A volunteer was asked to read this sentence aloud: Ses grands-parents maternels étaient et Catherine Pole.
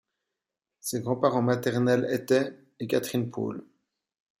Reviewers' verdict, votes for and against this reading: accepted, 2, 0